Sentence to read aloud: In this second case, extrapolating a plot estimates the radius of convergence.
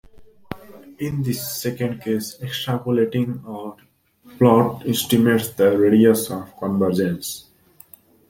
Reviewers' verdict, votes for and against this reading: rejected, 0, 2